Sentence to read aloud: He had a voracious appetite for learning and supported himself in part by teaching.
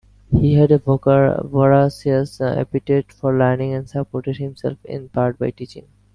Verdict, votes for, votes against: rejected, 0, 2